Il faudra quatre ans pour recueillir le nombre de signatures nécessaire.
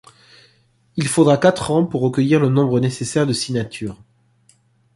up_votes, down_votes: 0, 2